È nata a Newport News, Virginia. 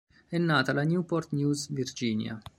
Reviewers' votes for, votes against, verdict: 2, 3, rejected